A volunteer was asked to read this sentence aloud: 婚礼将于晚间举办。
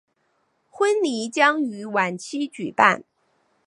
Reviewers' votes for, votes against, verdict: 1, 2, rejected